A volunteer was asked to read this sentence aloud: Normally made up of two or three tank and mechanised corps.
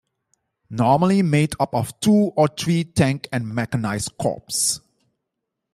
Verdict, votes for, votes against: rejected, 1, 2